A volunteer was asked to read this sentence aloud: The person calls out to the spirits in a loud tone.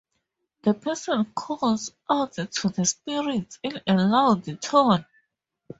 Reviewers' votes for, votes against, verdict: 2, 0, accepted